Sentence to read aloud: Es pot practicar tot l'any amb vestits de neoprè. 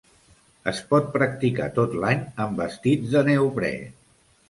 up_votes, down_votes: 2, 0